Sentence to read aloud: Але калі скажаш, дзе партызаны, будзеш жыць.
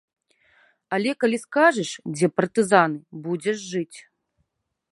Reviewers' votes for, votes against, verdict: 2, 0, accepted